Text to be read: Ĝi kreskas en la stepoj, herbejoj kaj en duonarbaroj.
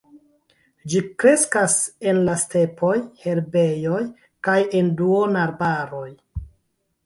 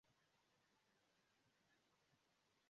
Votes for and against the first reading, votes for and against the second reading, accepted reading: 3, 1, 1, 2, first